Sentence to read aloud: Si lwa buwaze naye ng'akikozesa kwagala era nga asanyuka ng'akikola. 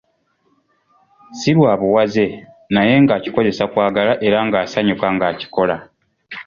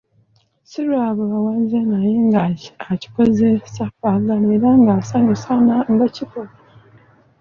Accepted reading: first